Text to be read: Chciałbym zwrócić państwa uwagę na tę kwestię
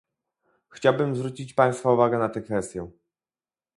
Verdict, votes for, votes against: accepted, 2, 0